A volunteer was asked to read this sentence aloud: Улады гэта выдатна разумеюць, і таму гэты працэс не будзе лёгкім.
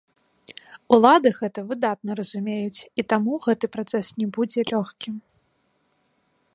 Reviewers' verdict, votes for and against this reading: accepted, 2, 0